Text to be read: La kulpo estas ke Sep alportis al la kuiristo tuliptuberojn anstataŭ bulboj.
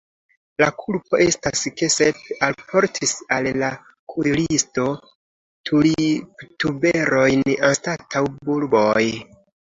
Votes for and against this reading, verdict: 2, 1, accepted